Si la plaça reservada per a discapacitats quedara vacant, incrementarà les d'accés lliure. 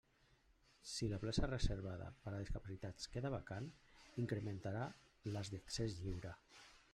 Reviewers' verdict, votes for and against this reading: accepted, 2, 1